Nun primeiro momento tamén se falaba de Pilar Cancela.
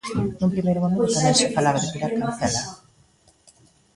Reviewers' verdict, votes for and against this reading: rejected, 0, 2